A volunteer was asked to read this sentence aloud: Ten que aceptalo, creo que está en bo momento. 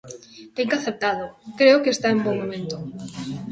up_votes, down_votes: 2, 1